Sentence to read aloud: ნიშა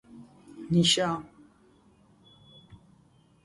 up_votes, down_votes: 0, 2